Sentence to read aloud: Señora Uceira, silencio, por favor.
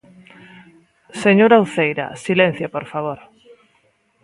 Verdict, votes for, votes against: accepted, 2, 1